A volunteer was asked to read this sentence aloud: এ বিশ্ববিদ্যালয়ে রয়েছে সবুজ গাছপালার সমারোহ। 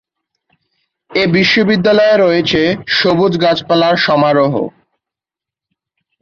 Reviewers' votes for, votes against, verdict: 3, 0, accepted